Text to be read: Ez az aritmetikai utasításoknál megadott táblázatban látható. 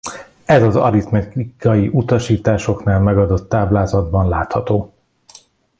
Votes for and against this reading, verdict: 1, 2, rejected